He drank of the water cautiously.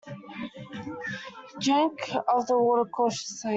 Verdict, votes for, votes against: rejected, 0, 2